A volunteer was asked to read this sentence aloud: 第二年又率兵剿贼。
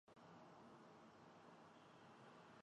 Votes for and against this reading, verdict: 3, 4, rejected